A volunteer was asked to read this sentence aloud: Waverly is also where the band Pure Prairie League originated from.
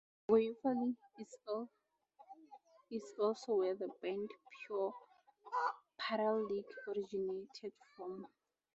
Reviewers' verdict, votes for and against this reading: rejected, 0, 4